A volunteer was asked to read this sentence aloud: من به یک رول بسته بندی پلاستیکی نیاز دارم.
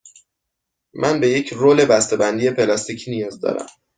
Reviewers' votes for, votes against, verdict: 2, 1, accepted